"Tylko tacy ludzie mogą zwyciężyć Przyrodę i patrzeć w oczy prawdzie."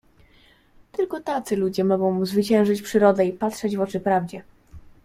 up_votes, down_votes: 2, 0